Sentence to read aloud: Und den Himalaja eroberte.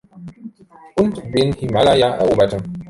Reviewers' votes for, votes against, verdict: 2, 0, accepted